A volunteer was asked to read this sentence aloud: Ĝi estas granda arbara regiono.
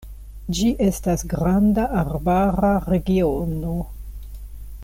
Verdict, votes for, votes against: accepted, 2, 0